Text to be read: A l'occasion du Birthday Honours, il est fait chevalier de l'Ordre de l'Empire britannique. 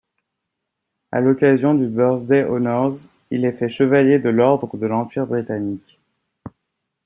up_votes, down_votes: 2, 0